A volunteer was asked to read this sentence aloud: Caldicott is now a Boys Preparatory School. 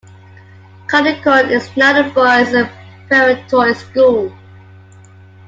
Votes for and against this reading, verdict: 0, 2, rejected